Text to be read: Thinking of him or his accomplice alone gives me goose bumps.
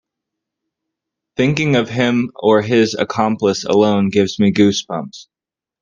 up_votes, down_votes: 2, 0